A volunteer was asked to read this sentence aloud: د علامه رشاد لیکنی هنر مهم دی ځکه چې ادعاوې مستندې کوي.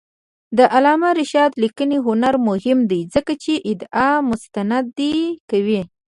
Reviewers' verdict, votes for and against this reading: rejected, 1, 3